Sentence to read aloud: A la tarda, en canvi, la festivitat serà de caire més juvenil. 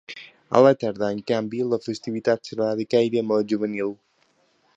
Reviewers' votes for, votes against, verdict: 1, 2, rejected